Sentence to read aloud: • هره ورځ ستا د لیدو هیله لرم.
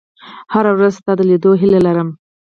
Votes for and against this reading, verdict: 2, 4, rejected